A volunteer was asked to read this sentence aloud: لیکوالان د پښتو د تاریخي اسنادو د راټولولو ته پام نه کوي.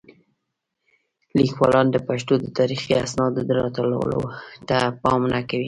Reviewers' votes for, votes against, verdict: 2, 0, accepted